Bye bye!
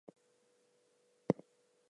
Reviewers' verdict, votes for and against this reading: rejected, 0, 2